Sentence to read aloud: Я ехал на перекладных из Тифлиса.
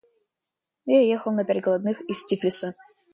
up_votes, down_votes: 2, 0